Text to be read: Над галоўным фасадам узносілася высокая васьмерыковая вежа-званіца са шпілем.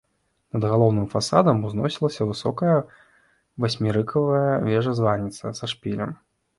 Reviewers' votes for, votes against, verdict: 0, 2, rejected